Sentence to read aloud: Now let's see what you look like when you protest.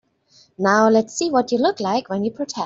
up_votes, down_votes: 0, 2